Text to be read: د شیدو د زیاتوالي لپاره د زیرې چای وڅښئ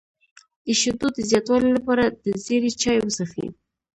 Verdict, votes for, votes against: accepted, 2, 0